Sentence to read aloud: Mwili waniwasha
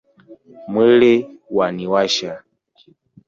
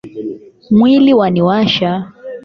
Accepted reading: second